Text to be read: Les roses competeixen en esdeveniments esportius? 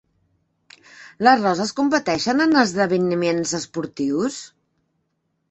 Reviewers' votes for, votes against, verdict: 0, 2, rejected